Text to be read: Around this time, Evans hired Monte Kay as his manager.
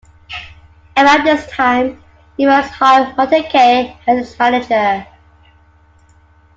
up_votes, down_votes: 2, 1